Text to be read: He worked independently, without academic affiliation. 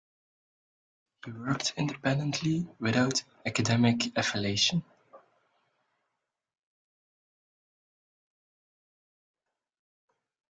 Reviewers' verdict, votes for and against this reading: rejected, 0, 2